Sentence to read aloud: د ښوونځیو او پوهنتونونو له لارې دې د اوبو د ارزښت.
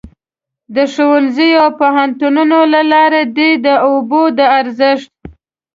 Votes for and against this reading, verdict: 2, 0, accepted